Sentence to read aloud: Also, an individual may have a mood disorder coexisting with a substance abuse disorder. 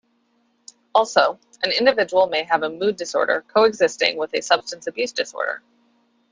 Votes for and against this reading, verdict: 2, 0, accepted